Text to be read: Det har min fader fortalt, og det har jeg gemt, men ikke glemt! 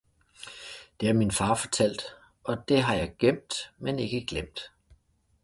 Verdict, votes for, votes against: rejected, 0, 2